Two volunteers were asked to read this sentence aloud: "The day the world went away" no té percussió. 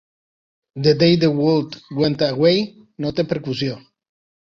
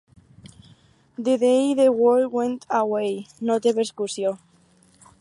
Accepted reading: first